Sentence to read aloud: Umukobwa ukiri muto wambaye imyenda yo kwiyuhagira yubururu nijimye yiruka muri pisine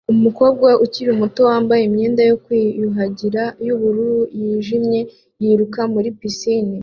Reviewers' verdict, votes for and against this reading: accepted, 2, 0